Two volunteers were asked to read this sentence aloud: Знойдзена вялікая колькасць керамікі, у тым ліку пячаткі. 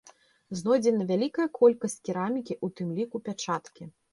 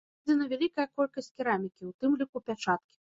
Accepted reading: first